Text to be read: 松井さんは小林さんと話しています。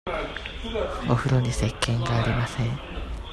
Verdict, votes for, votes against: rejected, 0, 2